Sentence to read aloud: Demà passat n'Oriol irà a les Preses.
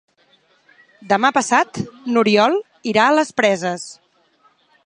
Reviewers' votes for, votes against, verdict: 4, 0, accepted